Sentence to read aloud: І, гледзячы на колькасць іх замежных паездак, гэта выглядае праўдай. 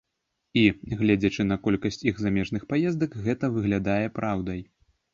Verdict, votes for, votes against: accepted, 3, 0